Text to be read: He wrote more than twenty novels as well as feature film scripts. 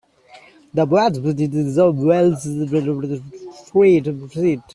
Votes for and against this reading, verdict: 0, 2, rejected